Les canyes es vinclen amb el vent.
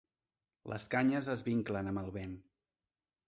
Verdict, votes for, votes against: rejected, 1, 2